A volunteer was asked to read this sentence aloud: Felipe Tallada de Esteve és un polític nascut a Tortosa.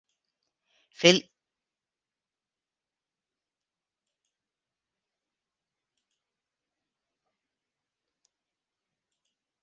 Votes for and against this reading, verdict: 0, 2, rejected